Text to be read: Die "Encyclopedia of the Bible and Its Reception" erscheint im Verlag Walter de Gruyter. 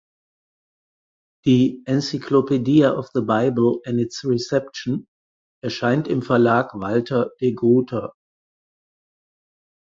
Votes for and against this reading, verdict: 2, 4, rejected